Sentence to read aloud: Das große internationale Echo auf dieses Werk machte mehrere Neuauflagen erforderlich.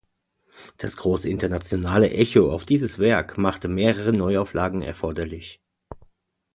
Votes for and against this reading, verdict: 2, 0, accepted